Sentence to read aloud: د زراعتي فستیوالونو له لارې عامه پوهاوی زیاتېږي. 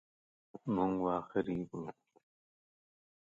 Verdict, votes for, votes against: rejected, 0, 2